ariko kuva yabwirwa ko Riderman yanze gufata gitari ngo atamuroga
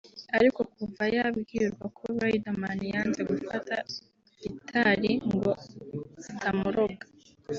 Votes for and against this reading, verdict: 2, 0, accepted